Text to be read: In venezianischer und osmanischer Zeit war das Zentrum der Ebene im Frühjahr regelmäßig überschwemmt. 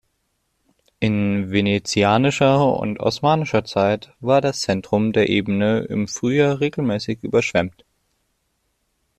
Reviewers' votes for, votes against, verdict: 2, 1, accepted